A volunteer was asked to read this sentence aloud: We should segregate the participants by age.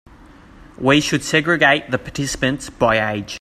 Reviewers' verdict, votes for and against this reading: accepted, 3, 0